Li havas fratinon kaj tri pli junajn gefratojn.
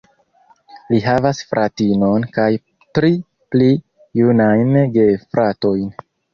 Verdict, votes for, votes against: accepted, 2, 1